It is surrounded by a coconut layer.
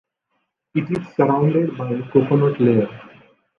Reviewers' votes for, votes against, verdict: 2, 0, accepted